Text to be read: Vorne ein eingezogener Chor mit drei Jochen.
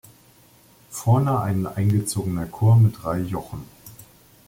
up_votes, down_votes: 2, 1